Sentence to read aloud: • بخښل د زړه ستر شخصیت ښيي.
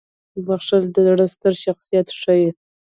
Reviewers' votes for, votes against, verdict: 1, 2, rejected